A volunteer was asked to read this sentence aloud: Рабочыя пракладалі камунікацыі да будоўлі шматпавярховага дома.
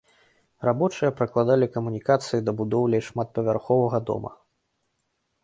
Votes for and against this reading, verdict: 2, 0, accepted